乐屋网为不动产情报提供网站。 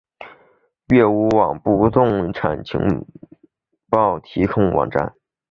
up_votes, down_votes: 3, 0